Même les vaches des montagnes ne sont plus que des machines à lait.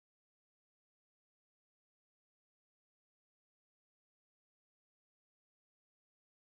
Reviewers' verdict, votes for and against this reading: rejected, 0, 2